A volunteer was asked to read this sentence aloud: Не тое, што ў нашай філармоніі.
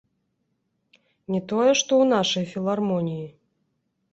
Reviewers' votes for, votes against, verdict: 2, 0, accepted